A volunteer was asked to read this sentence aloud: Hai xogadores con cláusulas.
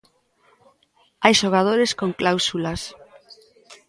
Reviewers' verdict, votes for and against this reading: rejected, 0, 2